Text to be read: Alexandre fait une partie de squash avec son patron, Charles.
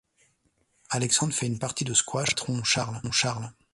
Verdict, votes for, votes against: rejected, 0, 2